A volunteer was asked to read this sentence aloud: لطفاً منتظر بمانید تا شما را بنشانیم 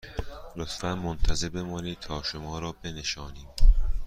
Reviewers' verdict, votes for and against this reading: accepted, 2, 0